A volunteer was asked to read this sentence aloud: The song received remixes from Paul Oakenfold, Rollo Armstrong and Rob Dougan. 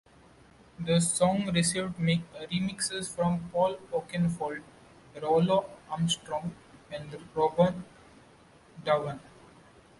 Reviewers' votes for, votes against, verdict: 2, 1, accepted